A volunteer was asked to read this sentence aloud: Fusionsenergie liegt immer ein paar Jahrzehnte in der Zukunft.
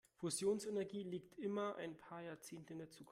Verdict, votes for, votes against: rejected, 1, 2